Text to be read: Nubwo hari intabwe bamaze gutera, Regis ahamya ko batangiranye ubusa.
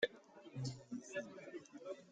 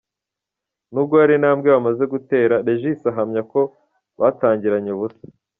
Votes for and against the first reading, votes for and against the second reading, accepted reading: 0, 2, 2, 1, second